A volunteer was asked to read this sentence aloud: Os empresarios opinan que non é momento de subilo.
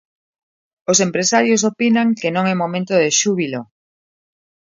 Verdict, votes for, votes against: rejected, 0, 2